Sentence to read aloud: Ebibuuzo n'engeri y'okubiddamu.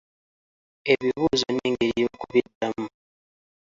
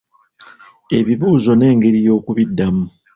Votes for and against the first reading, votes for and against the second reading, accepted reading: 1, 2, 3, 0, second